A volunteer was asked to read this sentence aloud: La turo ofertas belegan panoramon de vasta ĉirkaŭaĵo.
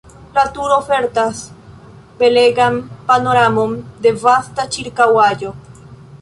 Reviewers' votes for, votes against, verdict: 1, 2, rejected